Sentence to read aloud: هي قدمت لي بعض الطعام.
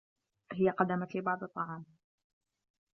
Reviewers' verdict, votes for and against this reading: accepted, 2, 0